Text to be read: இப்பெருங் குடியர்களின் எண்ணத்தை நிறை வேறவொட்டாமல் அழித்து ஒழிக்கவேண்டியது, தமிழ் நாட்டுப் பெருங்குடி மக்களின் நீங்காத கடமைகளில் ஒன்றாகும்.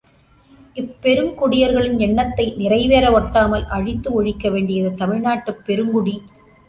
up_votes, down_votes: 0, 2